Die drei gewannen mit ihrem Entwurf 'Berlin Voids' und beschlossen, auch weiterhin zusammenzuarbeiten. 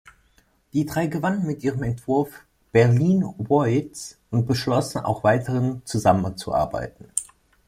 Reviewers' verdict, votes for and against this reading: rejected, 1, 2